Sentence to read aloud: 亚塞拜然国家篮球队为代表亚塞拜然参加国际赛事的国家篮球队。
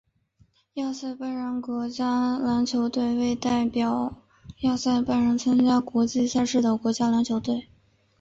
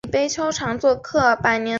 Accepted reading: first